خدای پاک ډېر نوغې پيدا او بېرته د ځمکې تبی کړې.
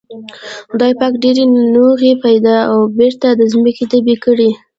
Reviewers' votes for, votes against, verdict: 2, 1, accepted